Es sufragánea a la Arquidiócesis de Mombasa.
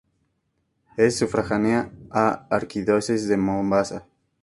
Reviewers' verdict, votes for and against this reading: accepted, 2, 0